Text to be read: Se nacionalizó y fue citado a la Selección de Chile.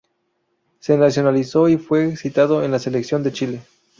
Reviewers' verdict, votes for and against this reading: rejected, 0, 2